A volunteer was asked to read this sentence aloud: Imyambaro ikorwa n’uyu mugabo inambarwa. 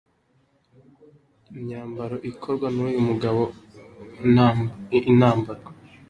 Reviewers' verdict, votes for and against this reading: rejected, 1, 3